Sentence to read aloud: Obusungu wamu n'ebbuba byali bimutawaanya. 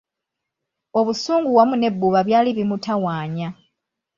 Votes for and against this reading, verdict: 2, 0, accepted